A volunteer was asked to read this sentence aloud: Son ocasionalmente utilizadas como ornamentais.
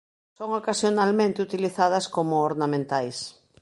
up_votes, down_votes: 2, 0